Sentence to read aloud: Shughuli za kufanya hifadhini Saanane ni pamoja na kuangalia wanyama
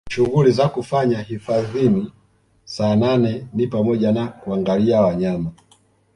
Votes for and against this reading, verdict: 2, 0, accepted